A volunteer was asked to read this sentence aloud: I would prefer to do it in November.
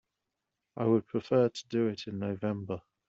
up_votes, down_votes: 2, 1